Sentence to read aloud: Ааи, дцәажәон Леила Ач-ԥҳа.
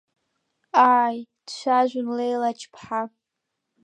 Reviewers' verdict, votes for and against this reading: accepted, 2, 0